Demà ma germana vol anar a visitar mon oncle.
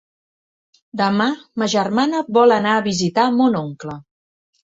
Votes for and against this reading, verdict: 3, 0, accepted